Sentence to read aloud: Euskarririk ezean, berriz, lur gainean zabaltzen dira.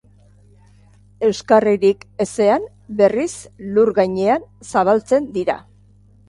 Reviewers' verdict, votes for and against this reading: accepted, 2, 0